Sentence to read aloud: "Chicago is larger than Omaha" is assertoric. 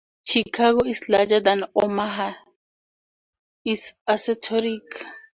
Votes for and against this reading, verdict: 4, 0, accepted